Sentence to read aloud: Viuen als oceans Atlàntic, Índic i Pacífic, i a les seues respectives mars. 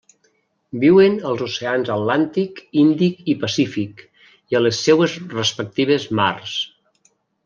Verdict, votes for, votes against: accepted, 2, 0